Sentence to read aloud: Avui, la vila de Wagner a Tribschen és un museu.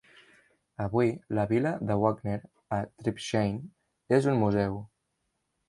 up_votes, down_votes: 0, 2